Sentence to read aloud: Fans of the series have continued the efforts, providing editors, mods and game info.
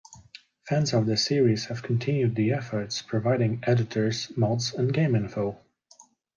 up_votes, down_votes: 1, 2